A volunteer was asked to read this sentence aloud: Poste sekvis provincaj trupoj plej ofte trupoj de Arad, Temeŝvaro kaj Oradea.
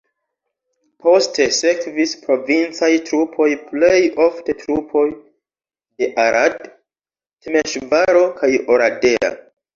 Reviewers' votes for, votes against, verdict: 2, 0, accepted